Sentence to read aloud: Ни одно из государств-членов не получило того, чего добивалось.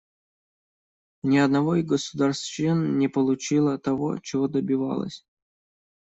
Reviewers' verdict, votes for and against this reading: rejected, 0, 2